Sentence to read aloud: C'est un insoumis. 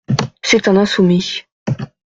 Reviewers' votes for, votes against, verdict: 2, 0, accepted